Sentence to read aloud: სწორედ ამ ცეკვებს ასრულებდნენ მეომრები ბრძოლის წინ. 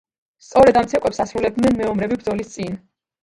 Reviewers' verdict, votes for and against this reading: rejected, 1, 2